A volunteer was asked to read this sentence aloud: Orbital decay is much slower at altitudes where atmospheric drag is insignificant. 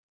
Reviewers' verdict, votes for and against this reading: rejected, 0, 2